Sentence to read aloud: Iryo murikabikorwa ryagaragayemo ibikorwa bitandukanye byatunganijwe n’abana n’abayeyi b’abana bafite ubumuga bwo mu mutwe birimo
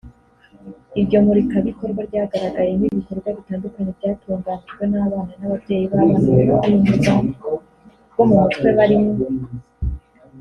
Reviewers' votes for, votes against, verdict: 1, 2, rejected